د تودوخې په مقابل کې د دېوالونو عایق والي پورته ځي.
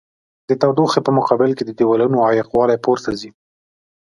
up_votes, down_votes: 2, 0